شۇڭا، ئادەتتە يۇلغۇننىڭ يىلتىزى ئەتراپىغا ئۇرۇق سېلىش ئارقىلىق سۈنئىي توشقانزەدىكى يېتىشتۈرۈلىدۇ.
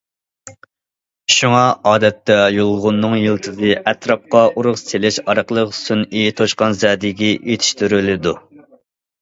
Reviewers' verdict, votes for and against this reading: rejected, 0, 2